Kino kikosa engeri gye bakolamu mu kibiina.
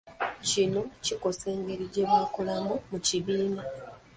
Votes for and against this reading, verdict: 0, 2, rejected